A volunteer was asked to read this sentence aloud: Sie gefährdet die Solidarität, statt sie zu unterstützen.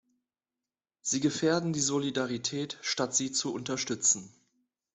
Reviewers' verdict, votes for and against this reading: rejected, 0, 2